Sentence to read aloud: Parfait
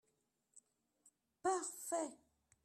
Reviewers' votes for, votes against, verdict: 0, 2, rejected